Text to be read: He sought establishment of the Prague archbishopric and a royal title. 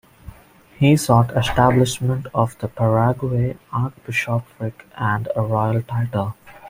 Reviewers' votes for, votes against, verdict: 0, 2, rejected